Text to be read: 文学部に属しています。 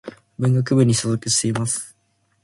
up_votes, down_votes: 1, 2